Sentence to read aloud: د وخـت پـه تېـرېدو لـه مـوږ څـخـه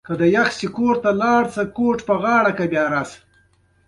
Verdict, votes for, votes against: accepted, 2, 0